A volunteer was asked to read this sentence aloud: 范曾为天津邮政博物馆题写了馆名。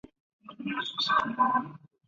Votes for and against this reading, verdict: 0, 5, rejected